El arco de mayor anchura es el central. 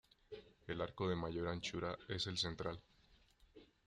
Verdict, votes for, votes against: accepted, 2, 0